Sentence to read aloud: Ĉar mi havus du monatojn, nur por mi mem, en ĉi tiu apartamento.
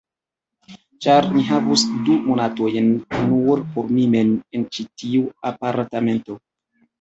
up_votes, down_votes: 2, 3